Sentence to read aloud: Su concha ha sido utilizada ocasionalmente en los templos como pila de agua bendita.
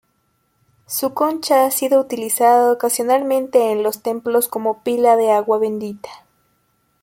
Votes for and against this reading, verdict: 2, 0, accepted